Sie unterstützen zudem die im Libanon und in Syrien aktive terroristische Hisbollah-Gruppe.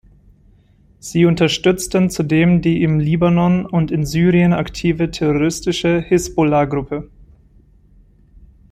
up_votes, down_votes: 1, 2